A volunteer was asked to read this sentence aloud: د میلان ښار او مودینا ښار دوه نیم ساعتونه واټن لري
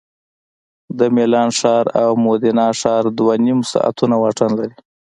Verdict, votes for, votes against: accepted, 2, 0